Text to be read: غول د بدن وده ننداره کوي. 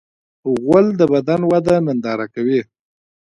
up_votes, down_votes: 2, 1